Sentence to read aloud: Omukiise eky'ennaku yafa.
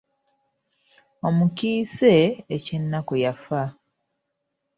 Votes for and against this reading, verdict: 2, 0, accepted